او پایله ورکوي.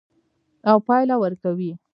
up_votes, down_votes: 2, 1